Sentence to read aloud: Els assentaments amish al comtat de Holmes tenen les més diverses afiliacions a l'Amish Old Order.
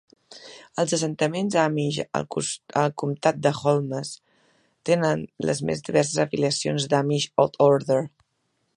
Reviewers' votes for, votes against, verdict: 0, 2, rejected